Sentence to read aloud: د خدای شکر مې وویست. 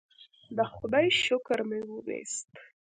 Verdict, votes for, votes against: accepted, 2, 0